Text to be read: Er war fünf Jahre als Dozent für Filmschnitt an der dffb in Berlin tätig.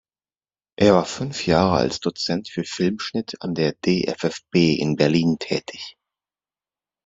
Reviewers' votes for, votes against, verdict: 2, 0, accepted